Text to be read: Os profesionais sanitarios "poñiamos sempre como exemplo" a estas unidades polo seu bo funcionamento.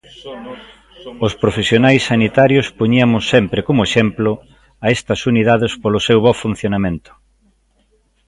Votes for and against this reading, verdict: 2, 1, accepted